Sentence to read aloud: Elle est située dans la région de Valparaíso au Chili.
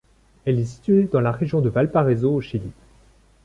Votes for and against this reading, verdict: 2, 0, accepted